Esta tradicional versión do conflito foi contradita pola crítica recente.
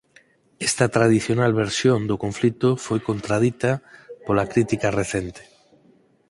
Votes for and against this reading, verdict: 4, 0, accepted